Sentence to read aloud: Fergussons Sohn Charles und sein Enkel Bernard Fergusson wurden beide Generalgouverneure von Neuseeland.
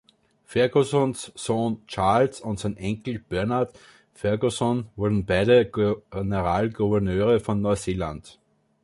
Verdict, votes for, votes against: rejected, 0, 2